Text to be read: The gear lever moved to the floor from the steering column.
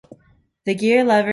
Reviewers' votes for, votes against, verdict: 0, 2, rejected